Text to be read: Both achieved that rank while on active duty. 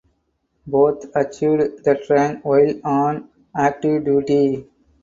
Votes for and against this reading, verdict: 0, 4, rejected